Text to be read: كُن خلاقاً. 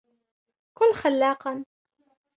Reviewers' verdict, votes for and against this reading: rejected, 1, 2